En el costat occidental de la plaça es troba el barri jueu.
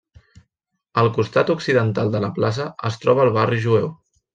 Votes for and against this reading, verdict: 0, 2, rejected